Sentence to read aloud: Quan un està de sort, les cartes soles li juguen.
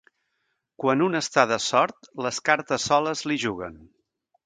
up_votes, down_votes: 2, 0